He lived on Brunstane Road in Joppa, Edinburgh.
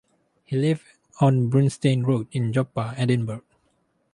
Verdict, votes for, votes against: rejected, 0, 2